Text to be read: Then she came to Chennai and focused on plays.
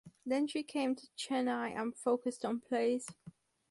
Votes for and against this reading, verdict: 4, 0, accepted